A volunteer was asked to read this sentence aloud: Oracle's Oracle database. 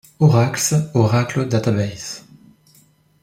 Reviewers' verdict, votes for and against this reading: rejected, 0, 2